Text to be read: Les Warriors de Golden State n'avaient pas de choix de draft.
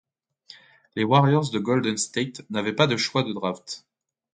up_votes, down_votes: 2, 0